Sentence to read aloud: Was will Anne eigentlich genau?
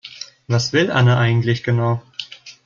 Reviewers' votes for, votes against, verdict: 2, 0, accepted